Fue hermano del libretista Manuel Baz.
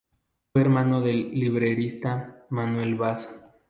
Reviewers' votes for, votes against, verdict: 0, 4, rejected